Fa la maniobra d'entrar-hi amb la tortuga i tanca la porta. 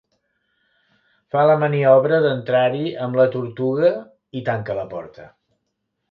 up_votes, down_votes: 3, 0